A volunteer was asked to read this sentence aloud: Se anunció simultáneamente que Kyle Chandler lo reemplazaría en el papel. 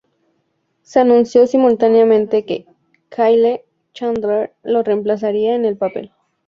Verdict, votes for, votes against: accepted, 2, 0